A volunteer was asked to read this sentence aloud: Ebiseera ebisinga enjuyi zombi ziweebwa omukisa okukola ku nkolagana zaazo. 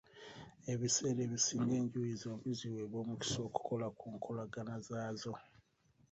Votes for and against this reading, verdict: 2, 0, accepted